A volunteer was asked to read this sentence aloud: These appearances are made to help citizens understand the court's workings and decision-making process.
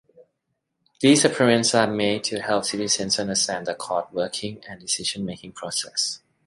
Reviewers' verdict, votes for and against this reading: rejected, 1, 2